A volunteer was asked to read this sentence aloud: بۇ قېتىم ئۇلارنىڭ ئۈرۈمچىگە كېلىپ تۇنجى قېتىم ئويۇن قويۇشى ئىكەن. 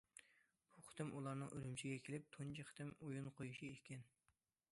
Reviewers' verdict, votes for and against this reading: accepted, 2, 0